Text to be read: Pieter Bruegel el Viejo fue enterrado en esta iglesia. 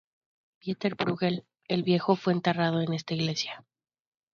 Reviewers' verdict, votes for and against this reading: accepted, 2, 0